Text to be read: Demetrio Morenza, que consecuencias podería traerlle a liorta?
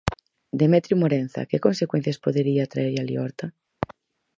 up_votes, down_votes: 4, 0